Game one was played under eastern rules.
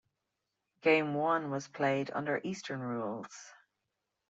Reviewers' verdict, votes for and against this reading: accepted, 2, 0